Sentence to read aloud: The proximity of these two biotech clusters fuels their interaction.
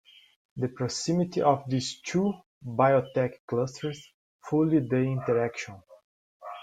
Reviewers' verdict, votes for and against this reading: rejected, 0, 2